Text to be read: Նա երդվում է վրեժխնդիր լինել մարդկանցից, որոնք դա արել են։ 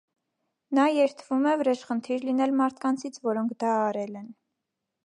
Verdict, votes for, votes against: accepted, 2, 0